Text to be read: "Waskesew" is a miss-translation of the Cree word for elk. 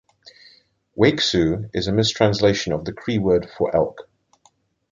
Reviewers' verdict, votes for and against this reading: rejected, 1, 2